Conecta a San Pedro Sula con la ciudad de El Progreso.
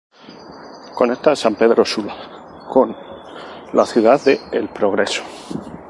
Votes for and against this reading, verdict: 0, 2, rejected